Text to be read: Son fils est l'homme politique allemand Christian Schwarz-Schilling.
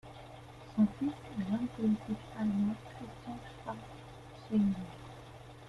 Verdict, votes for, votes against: rejected, 0, 2